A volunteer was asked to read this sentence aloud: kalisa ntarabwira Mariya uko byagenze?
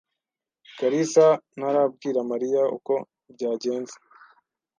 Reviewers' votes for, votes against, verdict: 2, 0, accepted